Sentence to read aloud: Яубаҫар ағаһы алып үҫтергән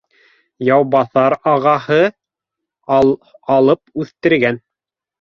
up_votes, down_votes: 1, 2